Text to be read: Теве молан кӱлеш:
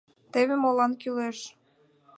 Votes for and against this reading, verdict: 2, 0, accepted